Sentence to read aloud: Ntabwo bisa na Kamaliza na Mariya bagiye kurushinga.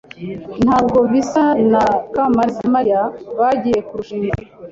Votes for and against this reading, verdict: 2, 1, accepted